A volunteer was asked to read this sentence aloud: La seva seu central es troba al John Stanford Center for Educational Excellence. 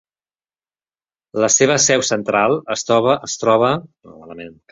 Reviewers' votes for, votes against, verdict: 0, 3, rejected